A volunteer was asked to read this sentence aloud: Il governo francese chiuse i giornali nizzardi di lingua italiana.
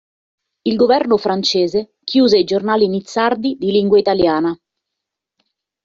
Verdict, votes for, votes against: accepted, 2, 0